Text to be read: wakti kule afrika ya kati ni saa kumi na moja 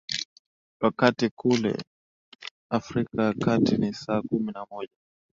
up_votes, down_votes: 2, 1